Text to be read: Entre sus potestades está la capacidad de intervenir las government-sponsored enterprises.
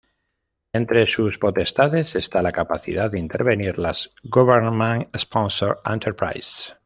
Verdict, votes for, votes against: rejected, 1, 2